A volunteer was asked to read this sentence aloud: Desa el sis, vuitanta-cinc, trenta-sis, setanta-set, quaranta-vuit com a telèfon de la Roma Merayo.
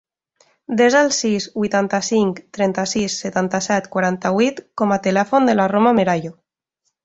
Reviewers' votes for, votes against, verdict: 2, 0, accepted